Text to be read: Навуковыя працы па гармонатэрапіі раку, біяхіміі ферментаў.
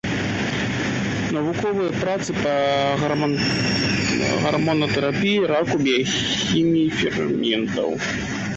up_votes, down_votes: 0, 2